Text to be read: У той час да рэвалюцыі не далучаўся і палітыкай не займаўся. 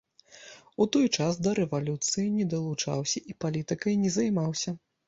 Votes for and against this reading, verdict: 2, 0, accepted